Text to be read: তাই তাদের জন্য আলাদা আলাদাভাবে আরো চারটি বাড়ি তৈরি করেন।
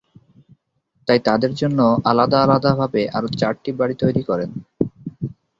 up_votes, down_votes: 16, 0